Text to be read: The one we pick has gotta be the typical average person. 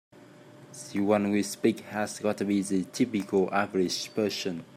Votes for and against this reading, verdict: 0, 2, rejected